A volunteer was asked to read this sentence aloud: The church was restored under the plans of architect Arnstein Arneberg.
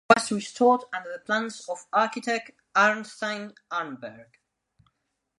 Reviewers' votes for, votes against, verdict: 0, 2, rejected